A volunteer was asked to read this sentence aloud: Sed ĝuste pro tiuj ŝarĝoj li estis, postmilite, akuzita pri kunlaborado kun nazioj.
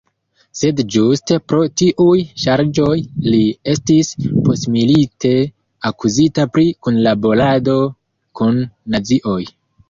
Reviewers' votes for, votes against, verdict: 0, 2, rejected